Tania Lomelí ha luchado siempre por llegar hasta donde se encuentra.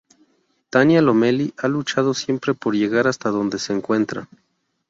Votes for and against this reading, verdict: 0, 2, rejected